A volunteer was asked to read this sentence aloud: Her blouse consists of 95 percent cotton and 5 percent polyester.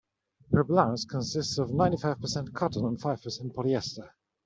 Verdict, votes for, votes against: rejected, 0, 2